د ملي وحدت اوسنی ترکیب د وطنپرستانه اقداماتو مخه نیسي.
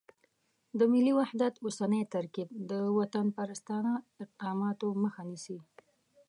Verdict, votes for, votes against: accepted, 3, 0